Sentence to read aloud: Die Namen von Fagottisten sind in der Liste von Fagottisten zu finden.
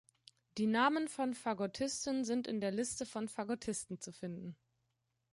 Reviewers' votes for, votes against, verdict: 2, 0, accepted